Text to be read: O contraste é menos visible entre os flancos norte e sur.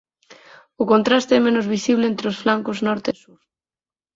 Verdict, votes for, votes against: rejected, 20, 22